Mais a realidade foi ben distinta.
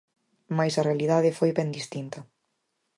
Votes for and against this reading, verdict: 4, 0, accepted